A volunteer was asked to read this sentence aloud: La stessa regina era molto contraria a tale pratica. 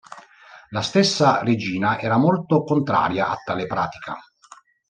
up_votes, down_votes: 2, 0